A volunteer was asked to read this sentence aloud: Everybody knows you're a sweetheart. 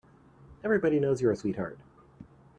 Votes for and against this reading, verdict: 2, 0, accepted